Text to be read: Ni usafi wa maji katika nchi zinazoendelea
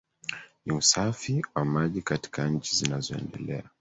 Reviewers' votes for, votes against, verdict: 3, 1, accepted